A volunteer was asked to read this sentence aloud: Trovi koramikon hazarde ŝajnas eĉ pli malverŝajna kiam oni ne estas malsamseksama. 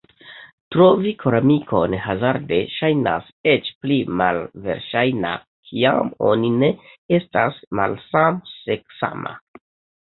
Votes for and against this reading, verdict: 3, 0, accepted